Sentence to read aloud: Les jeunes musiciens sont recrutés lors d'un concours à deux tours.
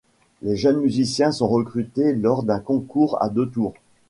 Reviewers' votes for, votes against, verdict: 2, 0, accepted